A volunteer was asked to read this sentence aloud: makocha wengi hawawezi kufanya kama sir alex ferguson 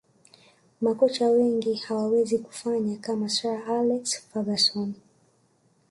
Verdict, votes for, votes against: rejected, 1, 2